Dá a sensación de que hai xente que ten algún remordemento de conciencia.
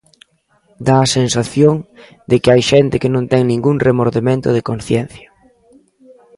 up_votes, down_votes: 0, 2